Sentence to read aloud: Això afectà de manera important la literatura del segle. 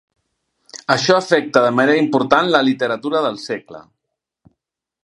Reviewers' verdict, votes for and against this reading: rejected, 1, 2